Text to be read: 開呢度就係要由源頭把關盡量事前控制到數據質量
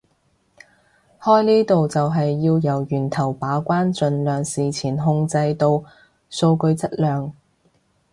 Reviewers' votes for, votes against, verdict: 3, 0, accepted